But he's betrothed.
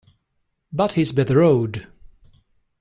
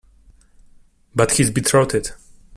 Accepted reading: second